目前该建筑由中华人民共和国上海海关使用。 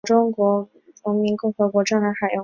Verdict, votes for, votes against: rejected, 2, 3